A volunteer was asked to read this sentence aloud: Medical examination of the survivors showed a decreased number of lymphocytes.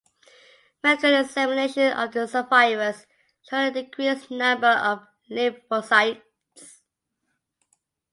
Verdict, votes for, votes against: rejected, 1, 2